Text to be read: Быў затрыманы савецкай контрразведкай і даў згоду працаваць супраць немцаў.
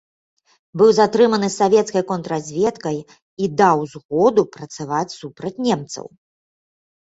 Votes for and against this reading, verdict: 3, 0, accepted